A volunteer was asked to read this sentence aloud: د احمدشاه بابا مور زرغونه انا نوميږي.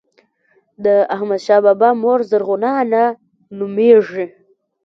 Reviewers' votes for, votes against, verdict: 3, 0, accepted